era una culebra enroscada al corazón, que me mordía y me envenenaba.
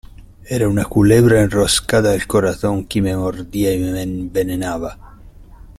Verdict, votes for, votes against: accepted, 2, 0